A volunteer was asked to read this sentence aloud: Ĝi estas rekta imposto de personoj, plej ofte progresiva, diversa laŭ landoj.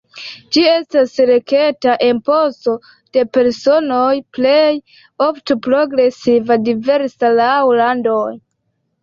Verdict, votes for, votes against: accepted, 2, 1